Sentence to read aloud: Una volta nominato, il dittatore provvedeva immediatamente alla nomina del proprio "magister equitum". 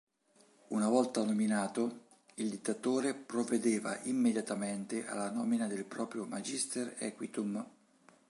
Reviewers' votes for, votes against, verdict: 2, 0, accepted